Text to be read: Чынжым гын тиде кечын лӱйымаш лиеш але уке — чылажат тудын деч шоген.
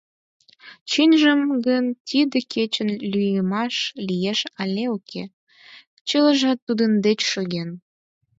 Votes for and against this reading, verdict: 4, 2, accepted